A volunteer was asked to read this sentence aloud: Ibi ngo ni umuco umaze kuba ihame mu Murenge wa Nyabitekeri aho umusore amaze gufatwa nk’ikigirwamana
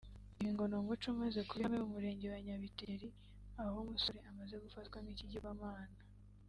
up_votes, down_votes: 2, 3